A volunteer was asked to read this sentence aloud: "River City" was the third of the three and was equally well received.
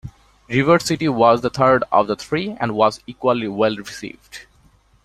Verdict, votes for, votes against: rejected, 1, 2